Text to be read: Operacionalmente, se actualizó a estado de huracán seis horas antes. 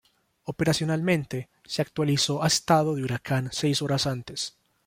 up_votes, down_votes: 2, 1